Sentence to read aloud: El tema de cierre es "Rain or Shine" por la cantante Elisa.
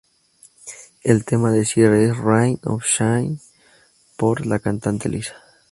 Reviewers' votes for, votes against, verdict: 2, 0, accepted